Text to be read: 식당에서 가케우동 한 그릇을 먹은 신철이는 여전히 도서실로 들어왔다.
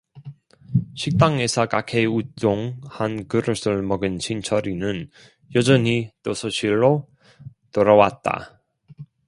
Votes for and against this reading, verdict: 0, 2, rejected